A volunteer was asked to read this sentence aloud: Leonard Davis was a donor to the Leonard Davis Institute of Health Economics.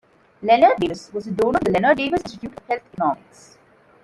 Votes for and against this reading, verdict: 0, 2, rejected